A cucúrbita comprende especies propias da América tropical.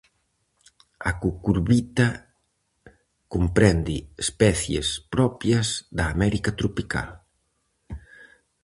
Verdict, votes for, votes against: rejected, 0, 4